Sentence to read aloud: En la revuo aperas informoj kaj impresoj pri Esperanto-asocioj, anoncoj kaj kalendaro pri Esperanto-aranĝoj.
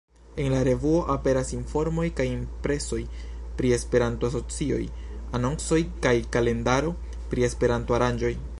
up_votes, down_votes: 2, 0